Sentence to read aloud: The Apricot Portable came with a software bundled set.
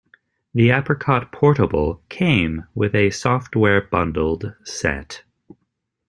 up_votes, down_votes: 2, 0